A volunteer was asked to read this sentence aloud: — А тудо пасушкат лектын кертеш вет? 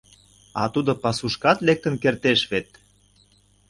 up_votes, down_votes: 2, 0